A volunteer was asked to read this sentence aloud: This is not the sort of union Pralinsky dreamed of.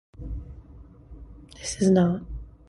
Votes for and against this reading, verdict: 0, 2, rejected